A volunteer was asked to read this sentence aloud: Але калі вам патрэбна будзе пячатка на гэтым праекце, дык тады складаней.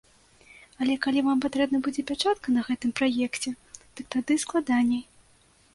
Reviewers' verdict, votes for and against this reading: accepted, 2, 0